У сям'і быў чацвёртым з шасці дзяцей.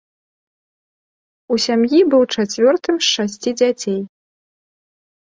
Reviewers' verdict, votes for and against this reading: accepted, 2, 0